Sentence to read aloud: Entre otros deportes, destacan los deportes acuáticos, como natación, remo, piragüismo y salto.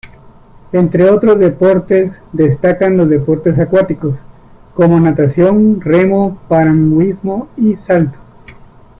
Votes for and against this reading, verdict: 0, 2, rejected